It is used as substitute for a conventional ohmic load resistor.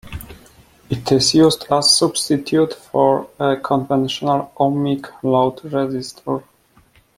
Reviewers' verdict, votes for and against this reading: rejected, 1, 2